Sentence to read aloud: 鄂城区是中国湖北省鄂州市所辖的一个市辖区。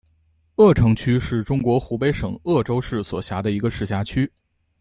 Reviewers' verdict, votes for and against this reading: accepted, 2, 0